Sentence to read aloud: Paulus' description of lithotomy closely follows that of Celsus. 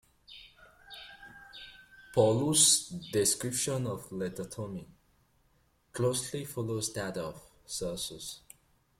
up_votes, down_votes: 0, 2